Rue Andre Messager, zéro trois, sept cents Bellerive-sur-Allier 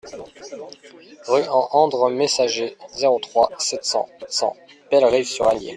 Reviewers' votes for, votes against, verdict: 1, 2, rejected